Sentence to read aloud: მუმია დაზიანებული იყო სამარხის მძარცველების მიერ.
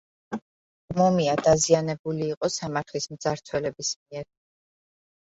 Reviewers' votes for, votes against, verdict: 2, 1, accepted